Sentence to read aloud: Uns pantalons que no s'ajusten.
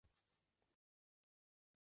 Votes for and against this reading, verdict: 1, 2, rejected